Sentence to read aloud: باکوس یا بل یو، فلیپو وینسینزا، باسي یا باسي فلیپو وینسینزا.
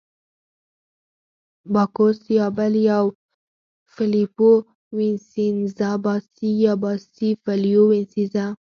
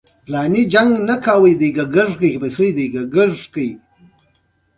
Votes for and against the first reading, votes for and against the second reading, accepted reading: 4, 2, 1, 2, first